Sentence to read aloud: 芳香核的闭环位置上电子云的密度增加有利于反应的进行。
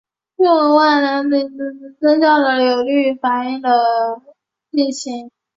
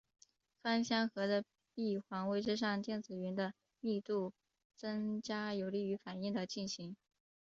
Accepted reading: second